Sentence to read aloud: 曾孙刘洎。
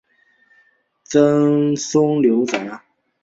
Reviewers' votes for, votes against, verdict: 2, 0, accepted